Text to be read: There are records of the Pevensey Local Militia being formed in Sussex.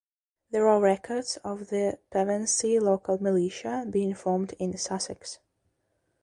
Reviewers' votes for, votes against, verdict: 2, 0, accepted